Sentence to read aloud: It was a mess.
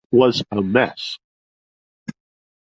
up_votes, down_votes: 0, 2